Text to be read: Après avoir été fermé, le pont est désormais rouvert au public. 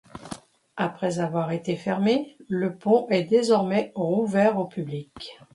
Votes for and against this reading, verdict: 2, 0, accepted